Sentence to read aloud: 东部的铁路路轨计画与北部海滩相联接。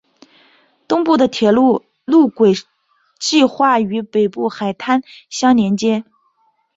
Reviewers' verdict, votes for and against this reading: accepted, 2, 0